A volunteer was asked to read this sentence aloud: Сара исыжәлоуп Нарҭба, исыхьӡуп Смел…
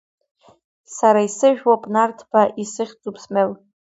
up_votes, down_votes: 2, 0